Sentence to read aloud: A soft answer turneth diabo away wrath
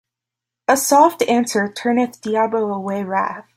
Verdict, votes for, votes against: accepted, 2, 0